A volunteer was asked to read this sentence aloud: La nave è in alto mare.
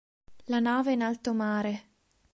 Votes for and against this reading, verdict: 2, 0, accepted